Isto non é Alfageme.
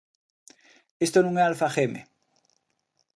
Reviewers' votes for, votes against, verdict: 2, 0, accepted